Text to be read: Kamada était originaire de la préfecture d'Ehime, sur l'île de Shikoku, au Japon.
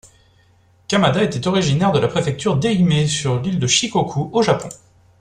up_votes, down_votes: 2, 0